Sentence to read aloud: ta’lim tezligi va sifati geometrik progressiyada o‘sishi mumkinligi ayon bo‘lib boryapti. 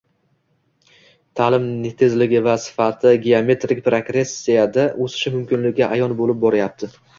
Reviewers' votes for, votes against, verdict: 1, 2, rejected